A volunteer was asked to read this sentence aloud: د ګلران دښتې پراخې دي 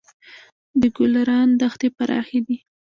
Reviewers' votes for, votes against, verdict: 0, 2, rejected